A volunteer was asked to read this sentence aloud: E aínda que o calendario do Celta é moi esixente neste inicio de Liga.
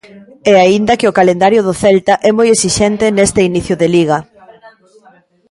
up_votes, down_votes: 0, 2